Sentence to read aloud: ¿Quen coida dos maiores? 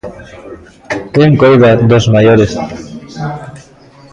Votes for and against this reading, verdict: 1, 2, rejected